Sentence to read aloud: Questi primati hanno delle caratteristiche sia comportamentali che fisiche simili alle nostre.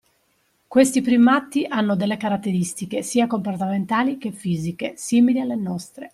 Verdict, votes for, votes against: accepted, 2, 0